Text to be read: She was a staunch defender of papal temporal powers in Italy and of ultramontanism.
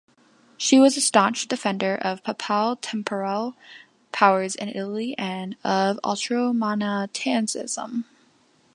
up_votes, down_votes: 0, 2